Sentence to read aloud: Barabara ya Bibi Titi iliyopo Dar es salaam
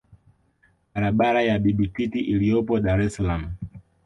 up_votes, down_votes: 2, 0